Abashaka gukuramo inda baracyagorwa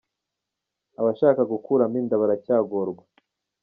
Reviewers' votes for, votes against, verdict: 3, 0, accepted